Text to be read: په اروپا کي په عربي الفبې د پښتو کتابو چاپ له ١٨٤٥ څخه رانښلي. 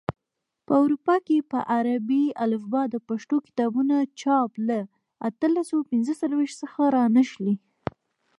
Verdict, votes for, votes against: rejected, 0, 2